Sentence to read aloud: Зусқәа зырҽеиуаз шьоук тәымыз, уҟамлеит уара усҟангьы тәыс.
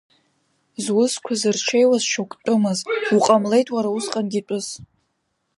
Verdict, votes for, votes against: rejected, 0, 2